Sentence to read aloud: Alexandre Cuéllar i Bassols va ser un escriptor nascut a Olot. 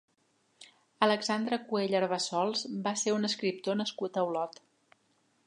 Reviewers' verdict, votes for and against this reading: rejected, 0, 2